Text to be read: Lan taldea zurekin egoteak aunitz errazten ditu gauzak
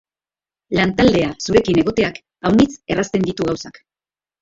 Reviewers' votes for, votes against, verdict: 1, 4, rejected